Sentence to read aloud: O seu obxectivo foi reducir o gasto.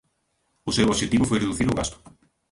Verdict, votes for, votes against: rejected, 0, 2